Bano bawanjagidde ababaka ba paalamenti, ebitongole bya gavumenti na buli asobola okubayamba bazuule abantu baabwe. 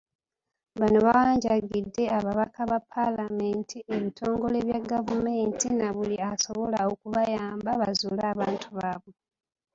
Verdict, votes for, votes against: accepted, 3, 1